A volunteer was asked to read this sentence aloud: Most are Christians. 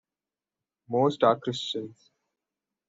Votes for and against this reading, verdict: 2, 0, accepted